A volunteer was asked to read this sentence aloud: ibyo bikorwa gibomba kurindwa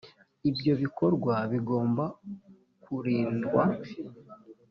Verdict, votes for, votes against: rejected, 1, 2